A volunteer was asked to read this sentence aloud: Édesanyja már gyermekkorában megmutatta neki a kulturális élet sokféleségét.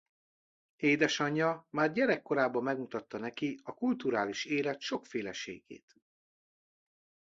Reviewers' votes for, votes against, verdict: 1, 2, rejected